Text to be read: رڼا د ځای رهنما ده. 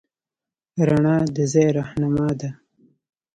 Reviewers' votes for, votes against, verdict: 1, 2, rejected